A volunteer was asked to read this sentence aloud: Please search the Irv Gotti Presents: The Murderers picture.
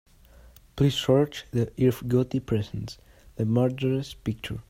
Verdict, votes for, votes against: accepted, 2, 0